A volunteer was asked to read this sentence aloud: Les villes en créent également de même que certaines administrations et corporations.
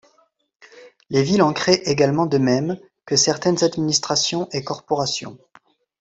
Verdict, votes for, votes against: accepted, 2, 0